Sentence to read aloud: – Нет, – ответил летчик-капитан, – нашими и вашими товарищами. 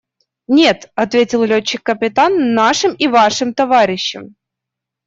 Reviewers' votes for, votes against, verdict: 0, 2, rejected